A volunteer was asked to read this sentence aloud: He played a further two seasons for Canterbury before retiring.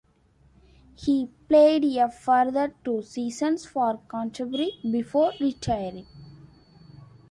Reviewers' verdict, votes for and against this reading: accepted, 2, 0